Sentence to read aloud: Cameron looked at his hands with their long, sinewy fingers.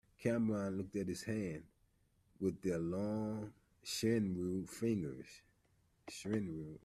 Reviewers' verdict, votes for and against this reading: rejected, 0, 2